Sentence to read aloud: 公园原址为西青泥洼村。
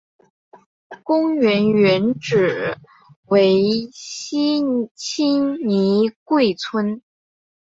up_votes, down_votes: 0, 3